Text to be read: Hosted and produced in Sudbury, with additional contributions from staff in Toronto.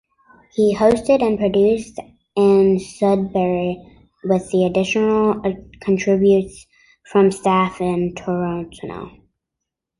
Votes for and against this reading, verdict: 0, 2, rejected